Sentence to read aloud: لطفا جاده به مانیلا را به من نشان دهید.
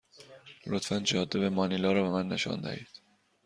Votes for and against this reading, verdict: 2, 0, accepted